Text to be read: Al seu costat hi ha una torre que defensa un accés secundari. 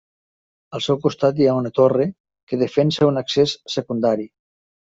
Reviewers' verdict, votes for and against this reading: accepted, 3, 0